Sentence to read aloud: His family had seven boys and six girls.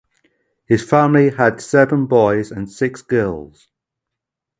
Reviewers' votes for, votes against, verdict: 2, 0, accepted